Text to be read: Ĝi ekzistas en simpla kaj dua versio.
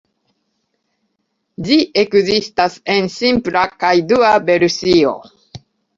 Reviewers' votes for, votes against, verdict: 2, 0, accepted